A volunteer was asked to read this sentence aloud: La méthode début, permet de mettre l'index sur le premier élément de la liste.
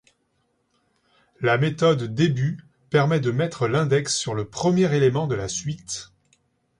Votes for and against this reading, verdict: 1, 2, rejected